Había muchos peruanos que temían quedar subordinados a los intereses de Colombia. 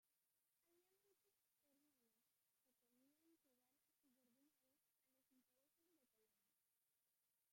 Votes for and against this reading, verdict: 0, 2, rejected